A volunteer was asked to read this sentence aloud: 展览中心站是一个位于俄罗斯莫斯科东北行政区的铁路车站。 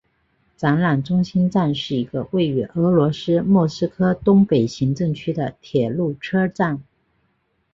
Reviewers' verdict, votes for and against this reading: accepted, 2, 1